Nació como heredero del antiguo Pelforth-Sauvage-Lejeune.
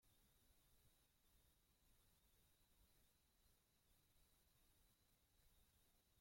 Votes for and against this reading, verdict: 0, 2, rejected